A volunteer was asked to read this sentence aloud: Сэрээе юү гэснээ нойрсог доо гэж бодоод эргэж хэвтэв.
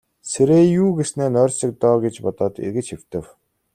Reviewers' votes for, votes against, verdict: 2, 0, accepted